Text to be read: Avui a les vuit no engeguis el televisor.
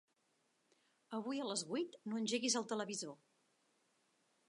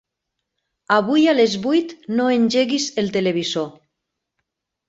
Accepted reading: second